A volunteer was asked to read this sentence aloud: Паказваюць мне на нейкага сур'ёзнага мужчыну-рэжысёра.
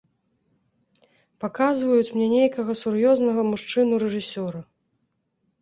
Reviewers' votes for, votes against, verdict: 0, 2, rejected